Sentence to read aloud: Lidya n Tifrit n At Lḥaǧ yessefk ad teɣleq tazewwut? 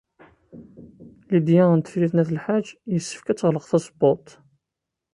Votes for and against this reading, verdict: 1, 2, rejected